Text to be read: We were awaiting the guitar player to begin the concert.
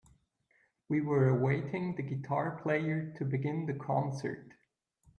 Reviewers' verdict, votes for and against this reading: accepted, 2, 0